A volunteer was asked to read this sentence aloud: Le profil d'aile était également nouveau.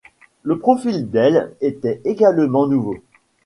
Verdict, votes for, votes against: accepted, 2, 0